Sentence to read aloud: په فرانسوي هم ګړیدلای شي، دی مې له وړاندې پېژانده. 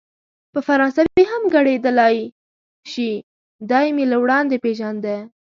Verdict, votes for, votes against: accepted, 2, 0